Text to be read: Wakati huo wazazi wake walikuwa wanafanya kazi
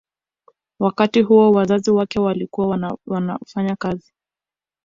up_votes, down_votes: 0, 2